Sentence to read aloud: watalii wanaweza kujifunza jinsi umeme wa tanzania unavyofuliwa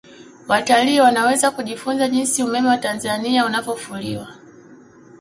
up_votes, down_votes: 2, 0